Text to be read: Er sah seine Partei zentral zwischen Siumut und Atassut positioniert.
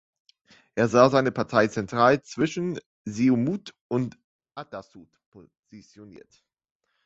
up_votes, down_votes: 0, 2